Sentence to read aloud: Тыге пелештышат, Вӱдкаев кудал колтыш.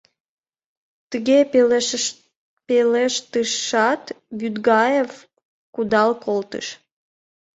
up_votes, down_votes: 0, 2